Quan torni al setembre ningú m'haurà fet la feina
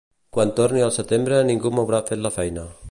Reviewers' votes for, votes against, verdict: 2, 0, accepted